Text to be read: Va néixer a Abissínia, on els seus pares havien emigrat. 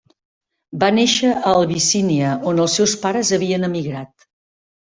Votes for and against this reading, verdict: 0, 2, rejected